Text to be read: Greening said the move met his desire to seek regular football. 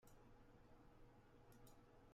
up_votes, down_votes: 0, 2